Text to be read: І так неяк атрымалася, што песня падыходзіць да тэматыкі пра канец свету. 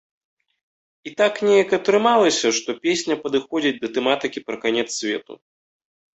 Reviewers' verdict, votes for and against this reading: accepted, 2, 0